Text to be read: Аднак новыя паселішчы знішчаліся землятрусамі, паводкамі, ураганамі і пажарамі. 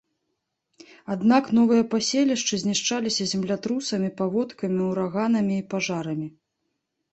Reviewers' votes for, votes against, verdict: 2, 0, accepted